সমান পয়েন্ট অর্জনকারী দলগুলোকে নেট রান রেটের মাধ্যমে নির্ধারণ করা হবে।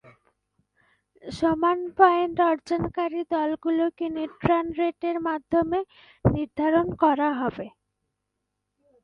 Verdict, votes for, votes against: accepted, 2, 0